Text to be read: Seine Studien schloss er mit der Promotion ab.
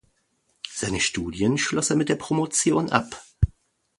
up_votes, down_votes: 2, 0